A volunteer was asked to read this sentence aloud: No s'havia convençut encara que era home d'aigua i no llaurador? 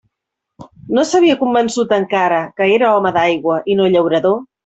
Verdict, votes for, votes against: accepted, 2, 0